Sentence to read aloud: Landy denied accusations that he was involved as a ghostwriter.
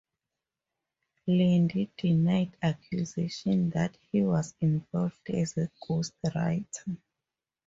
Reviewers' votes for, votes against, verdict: 0, 4, rejected